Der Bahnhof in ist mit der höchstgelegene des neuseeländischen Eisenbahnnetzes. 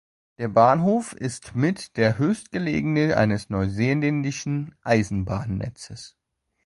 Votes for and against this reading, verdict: 1, 2, rejected